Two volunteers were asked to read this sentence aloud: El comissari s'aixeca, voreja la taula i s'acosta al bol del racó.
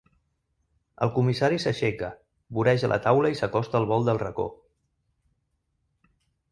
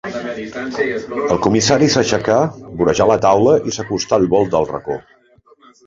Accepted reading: first